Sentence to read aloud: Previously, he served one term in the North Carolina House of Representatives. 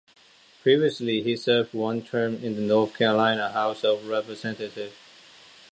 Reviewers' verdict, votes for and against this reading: rejected, 0, 2